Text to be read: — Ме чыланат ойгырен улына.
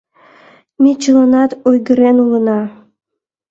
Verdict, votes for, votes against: accepted, 2, 0